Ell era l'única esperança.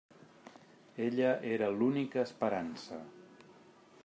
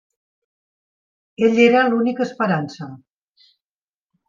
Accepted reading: second